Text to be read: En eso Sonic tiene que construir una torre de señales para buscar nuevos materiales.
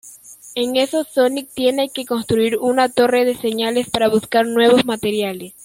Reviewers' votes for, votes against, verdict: 2, 0, accepted